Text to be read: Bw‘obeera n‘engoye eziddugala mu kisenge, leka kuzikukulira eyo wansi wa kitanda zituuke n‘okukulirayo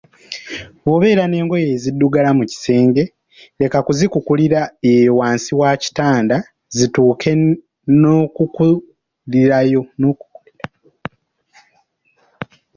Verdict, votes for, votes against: rejected, 2, 3